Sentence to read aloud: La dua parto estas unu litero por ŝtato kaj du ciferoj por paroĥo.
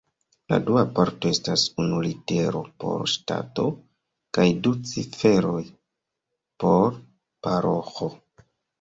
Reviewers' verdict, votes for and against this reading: rejected, 1, 2